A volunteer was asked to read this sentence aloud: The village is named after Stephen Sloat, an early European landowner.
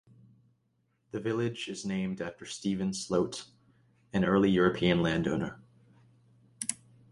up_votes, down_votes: 2, 0